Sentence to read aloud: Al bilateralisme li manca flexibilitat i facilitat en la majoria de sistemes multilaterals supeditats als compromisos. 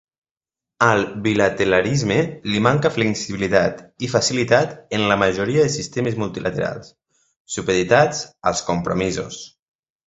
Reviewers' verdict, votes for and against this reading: rejected, 1, 2